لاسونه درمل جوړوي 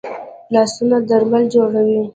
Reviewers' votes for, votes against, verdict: 2, 0, accepted